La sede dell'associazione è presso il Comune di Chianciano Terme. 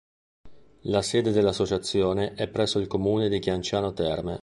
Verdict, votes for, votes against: accepted, 2, 0